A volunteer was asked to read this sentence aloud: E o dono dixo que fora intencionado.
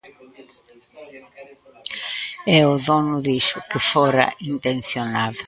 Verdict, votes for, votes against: accepted, 3, 2